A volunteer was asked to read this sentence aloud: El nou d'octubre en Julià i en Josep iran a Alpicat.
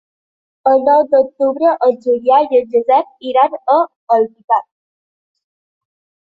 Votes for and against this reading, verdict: 0, 2, rejected